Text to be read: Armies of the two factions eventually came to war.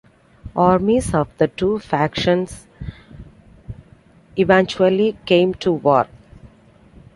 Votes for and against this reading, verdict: 2, 1, accepted